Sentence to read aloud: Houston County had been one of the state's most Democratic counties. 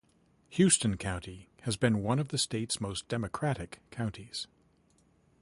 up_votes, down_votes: 0, 2